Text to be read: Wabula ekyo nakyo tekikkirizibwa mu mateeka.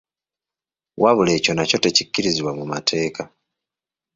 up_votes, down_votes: 3, 0